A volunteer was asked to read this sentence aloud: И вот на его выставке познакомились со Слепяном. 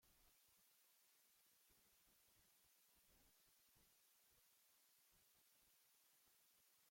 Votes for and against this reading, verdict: 0, 2, rejected